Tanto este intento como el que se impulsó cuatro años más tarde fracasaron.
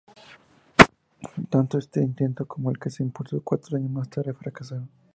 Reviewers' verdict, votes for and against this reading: accepted, 2, 0